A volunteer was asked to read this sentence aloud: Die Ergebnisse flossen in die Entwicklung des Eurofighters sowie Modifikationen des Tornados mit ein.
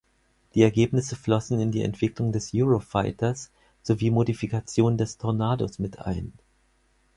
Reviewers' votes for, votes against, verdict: 2, 4, rejected